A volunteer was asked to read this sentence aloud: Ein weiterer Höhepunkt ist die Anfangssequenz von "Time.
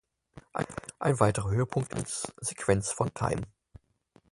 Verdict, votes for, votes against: rejected, 0, 4